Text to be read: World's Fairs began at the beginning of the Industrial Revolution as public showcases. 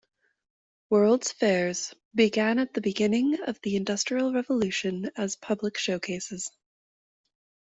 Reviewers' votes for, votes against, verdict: 2, 0, accepted